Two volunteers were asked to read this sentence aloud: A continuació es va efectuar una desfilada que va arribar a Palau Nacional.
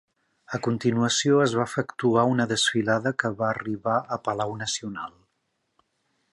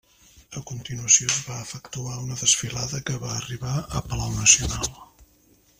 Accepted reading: first